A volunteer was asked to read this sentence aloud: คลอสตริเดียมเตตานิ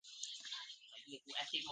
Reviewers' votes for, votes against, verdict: 0, 2, rejected